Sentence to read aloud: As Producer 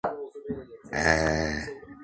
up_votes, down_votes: 0, 2